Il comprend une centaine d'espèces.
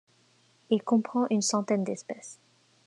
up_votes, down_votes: 2, 0